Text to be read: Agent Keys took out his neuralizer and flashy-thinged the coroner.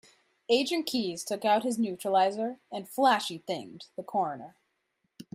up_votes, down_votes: 1, 2